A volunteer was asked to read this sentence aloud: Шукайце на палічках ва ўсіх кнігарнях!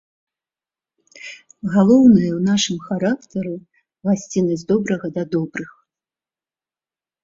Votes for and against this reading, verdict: 0, 2, rejected